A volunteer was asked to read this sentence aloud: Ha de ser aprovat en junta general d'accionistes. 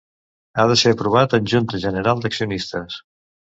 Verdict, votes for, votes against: accepted, 2, 0